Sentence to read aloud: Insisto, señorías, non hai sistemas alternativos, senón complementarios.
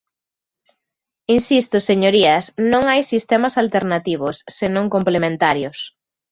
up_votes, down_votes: 2, 0